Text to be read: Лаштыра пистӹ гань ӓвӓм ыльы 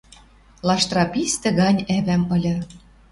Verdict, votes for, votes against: accepted, 2, 0